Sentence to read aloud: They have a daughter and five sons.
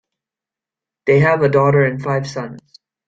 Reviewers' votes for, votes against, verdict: 2, 1, accepted